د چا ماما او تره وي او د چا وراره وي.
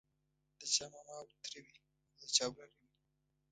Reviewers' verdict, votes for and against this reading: rejected, 0, 2